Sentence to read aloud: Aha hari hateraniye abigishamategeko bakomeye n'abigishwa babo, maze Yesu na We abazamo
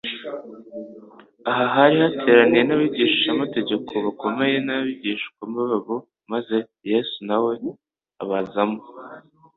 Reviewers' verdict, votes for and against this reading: accepted, 2, 0